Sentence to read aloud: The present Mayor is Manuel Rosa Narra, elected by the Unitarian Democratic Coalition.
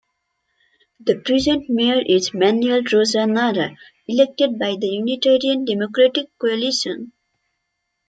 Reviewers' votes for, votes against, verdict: 2, 0, accepted